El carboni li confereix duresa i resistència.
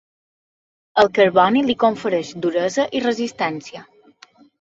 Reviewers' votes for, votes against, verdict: 2, 0, accepted